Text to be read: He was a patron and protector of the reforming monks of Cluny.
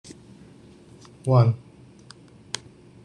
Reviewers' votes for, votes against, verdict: 0, 2, rejected